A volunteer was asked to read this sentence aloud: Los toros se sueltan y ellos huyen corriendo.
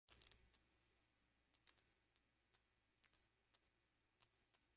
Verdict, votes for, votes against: rejected, 0, 2